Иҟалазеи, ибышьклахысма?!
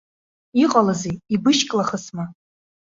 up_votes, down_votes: 2, 0